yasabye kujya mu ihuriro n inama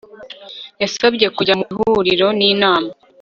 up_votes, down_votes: 3, 0